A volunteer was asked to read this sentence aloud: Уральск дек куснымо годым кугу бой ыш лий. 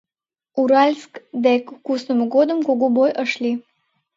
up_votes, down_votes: 2, 0